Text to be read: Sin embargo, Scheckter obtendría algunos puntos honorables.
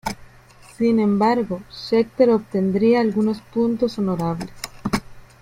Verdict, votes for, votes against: rejected, 1, 2